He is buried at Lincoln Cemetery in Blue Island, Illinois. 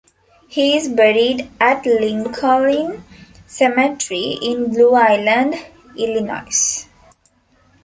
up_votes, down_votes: 2, 0